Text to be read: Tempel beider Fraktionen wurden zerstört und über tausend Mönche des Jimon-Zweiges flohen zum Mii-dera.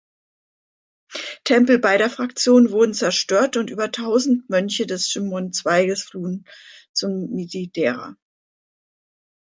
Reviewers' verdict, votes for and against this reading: rejected, 1, 3